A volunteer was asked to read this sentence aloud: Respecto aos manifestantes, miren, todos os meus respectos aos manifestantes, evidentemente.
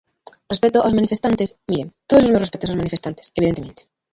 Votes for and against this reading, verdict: 0, 2, rejected